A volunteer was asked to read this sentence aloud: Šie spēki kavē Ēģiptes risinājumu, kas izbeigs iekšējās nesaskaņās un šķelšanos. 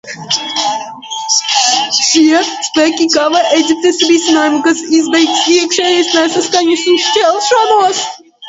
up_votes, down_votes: 1, 2